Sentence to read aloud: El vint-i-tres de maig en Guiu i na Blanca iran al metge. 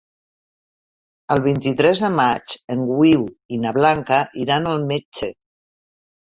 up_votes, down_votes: 0, 2